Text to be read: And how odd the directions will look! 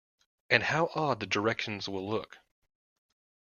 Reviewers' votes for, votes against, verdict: 2, 0, accepted